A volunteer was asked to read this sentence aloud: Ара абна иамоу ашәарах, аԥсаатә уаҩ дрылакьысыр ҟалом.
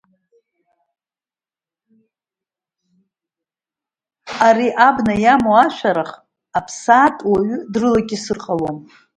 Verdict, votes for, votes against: rejected, 1, 2